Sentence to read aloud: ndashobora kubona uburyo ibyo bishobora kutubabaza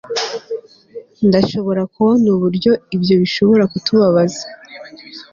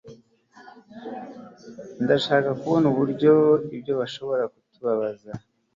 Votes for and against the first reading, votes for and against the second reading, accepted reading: 2, 0, 1, 2, first